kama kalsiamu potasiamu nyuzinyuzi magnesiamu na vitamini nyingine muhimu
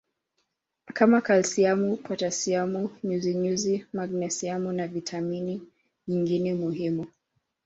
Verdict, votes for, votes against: accepted, 2, 0